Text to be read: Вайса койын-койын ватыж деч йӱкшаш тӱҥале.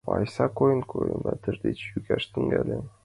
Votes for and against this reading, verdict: 1, 3, rejected